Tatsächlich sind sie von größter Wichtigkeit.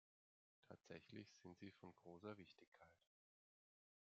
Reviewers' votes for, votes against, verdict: 1, 2, rejected